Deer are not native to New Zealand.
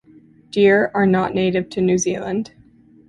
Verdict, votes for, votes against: accepted, 2, 0